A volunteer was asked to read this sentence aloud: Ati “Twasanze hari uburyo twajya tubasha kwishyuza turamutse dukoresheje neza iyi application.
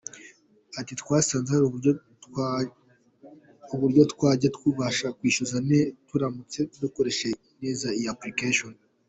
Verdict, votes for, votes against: accepted, 2, 1